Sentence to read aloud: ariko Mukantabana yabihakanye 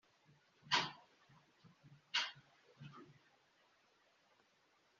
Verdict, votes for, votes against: rejected, 0, 2